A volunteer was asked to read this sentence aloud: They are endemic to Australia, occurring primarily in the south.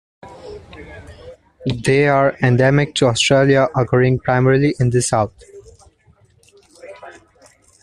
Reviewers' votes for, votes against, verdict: 1, 2, rejected